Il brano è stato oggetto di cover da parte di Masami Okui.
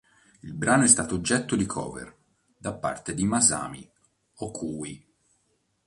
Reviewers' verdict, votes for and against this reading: accepted, 4, 1